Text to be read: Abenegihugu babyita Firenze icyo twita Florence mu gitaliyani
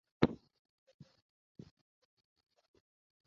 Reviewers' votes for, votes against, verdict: 0, 2, rejected